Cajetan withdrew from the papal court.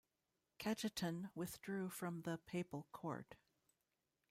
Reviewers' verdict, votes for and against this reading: accepted, 2, 0